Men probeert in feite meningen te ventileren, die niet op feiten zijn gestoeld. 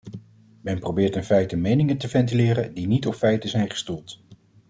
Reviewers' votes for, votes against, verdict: 2, 0, accepted